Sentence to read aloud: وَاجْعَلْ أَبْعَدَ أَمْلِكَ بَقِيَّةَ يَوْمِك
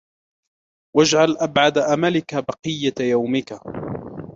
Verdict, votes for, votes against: accepted, 2, 0